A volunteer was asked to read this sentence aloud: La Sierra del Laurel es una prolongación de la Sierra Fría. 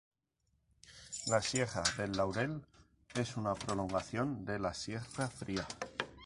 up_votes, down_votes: 0, 2